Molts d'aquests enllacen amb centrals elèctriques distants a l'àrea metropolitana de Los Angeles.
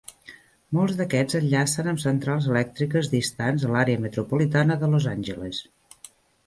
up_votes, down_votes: 2, 0